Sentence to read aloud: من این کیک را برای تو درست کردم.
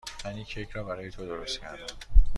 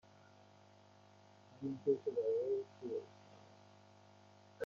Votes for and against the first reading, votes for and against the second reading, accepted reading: 2, 0, 1, 2, first